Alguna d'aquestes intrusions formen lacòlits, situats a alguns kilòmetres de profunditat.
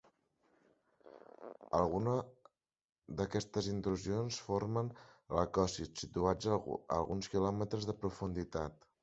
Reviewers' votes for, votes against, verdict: 1, 2, rejected